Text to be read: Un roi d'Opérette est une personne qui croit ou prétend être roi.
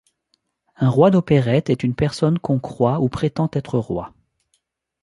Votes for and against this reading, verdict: 1, 2, rejected